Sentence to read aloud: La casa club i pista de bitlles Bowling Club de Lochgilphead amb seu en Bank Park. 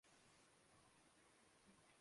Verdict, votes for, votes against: rejected, 0, 2